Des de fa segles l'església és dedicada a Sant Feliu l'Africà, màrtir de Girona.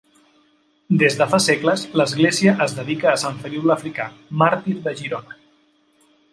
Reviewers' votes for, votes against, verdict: 1, 2, rejected